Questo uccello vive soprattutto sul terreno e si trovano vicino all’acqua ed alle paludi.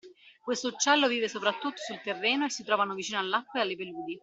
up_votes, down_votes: 2, 1